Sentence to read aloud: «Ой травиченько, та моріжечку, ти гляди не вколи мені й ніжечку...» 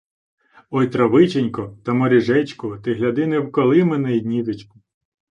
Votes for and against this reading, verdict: 2, 0, accepted